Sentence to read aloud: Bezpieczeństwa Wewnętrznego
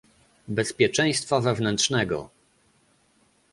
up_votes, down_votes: 2, 0